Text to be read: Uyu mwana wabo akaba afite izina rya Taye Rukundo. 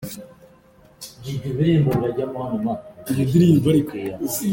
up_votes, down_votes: 0, 2